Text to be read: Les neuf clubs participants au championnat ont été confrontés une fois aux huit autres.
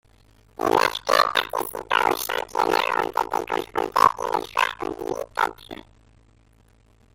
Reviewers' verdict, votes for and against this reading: rejected, 0, 2